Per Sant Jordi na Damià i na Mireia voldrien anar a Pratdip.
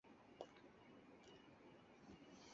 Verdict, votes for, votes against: rejected, 0, 4